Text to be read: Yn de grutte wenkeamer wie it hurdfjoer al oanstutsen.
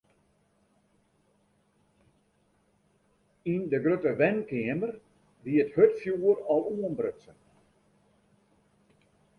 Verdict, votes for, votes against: rejected, 0, 2